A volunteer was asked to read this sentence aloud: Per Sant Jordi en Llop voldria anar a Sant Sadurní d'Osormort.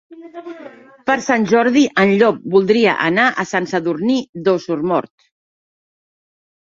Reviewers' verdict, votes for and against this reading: rejected, 0, 2